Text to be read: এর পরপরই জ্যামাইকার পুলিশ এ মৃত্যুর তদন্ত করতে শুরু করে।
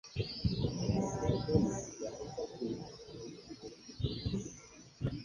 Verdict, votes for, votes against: rejected, 0, 7